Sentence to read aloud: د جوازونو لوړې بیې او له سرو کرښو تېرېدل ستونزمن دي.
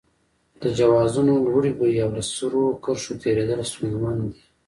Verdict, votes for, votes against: rejected, 0, 2